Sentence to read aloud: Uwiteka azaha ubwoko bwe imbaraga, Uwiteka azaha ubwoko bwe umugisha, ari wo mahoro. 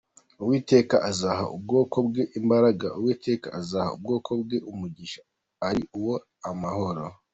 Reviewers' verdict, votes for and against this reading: accepted, 2, 1